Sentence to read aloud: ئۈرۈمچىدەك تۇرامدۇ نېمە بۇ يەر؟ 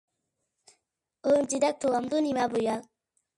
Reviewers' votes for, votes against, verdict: 0, 2, rejected